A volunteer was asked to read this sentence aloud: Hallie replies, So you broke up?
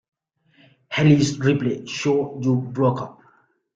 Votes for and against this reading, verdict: 0, 2, rejected